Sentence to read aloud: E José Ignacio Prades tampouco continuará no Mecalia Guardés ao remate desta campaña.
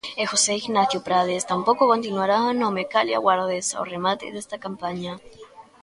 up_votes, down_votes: 2, 1